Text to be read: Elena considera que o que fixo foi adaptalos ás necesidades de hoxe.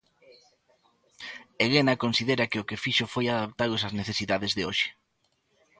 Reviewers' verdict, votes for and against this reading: accepted, 2, 0